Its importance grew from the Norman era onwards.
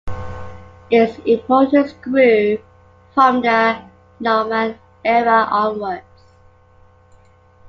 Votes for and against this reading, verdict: 1, 2, rejected